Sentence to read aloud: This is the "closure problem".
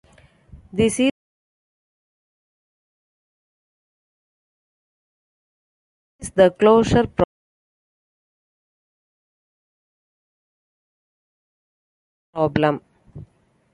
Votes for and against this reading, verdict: 0, 2, rejected